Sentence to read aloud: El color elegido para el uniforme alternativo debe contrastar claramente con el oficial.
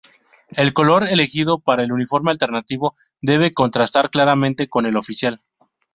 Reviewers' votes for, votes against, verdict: 2, 0, accepted